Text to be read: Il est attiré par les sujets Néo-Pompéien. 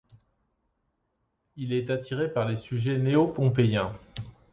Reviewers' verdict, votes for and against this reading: accepted, 2, 0